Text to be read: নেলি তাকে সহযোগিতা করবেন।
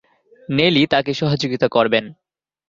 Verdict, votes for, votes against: rejected, 0, 2